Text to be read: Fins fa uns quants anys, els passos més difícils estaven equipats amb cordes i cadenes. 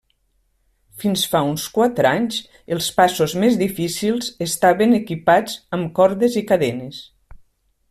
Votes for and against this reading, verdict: 1, 2, rejected